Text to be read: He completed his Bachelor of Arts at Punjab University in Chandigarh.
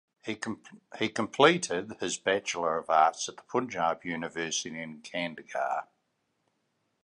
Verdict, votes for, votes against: rejected, 0, 2